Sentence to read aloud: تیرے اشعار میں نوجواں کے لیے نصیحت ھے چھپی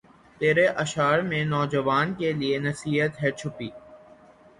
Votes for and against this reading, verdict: 12, 0, accepted